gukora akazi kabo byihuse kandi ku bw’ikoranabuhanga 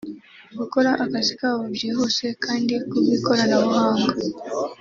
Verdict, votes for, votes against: accepted, 2, 0